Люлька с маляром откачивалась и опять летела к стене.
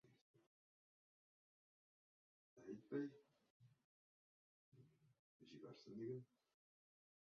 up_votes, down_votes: 0, 2